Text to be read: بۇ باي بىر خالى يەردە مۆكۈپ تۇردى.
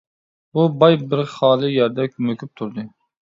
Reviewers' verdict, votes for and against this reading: rejected, 0, 2